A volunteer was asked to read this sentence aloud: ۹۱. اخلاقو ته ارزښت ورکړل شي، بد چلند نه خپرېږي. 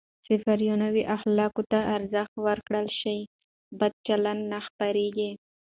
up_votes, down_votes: 0, 2